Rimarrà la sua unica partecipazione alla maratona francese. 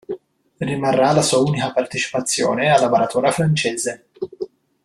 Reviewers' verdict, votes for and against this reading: rejected, 1, 2